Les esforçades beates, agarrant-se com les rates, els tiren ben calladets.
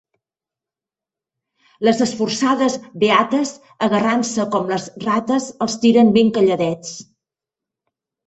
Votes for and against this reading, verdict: 3, 0, accepted